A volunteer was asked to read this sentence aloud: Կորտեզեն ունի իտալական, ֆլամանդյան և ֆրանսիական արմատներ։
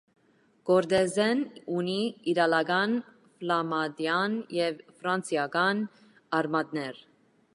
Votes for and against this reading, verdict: 2, 1, accepted